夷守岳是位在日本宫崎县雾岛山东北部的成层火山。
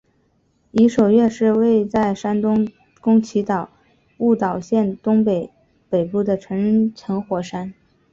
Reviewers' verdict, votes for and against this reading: accepted, 2, 0